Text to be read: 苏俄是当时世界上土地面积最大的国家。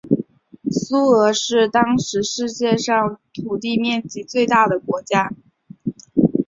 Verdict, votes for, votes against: accepted, 6, 0